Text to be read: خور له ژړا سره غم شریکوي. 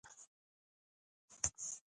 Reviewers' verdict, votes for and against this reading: rejected, 1, 2